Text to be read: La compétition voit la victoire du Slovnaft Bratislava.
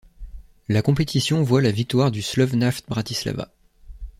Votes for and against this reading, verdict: 2, 0, accepted